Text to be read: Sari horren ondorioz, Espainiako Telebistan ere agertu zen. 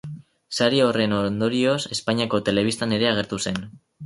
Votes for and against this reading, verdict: 8, 0, accepted